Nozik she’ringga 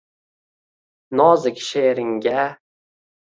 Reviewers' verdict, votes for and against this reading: rejected, 1, 2